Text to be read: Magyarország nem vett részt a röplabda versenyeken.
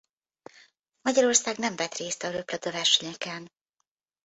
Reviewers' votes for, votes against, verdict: 2, 1, accepted